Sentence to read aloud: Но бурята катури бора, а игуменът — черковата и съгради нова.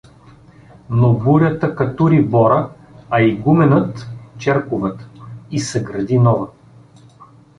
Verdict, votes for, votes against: rejected, 0, 2